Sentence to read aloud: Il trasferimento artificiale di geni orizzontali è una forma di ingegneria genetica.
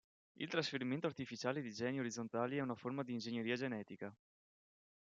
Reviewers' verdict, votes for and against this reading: accepted, 2, 0